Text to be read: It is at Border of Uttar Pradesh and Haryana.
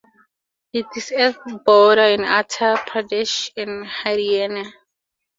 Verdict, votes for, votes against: accepted, 2, 0